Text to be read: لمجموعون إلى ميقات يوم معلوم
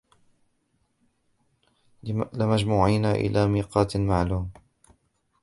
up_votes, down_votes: 1, 2